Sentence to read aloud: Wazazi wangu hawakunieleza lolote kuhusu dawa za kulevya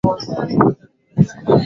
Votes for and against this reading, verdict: 0, 2, rejected